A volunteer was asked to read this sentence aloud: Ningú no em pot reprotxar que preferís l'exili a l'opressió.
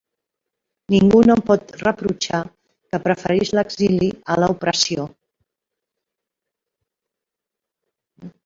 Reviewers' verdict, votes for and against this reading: rejected, 0, 2